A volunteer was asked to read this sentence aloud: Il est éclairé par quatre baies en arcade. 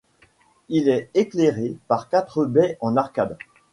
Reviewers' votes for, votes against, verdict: 2, 0, accepted